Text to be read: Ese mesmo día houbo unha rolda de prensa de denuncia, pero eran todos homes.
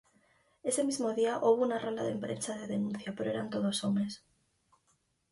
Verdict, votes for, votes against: rejected, 2, 2